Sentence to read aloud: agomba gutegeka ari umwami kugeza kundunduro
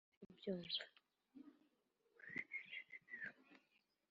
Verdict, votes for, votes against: rejected, 1, 3